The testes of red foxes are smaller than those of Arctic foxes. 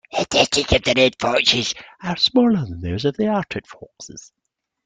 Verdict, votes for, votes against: rejected, 0, 2